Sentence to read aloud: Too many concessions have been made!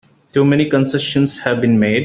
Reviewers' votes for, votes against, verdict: 2, 0, accepted